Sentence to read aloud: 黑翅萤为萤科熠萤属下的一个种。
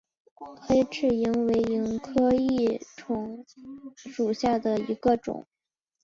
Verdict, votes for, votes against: rejected, 0, 5